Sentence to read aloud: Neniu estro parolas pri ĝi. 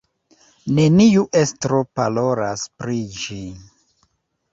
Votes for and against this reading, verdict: 2, 1, accepted